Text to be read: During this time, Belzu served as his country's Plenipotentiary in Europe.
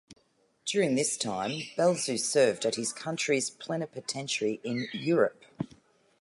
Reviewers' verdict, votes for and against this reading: rejected, 0, 2